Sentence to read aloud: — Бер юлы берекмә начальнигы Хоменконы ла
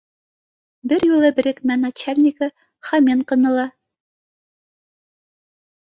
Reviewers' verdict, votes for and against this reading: accepted, 2, 0